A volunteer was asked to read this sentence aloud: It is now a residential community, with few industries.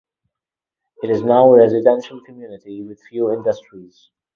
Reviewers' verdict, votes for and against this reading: rejected, 0, 2